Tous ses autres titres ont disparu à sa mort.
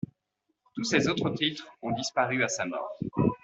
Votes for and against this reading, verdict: 2, 0, accepted